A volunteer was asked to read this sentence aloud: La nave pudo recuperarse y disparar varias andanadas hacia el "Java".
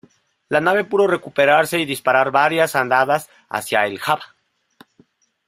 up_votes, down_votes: 0, 2